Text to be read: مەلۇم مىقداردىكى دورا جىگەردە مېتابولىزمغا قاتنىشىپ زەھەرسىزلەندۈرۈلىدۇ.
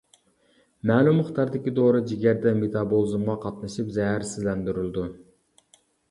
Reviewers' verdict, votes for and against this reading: rejected, 1, 2